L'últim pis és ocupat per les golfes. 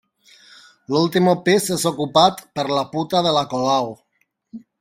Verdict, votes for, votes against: rejected, 0, 2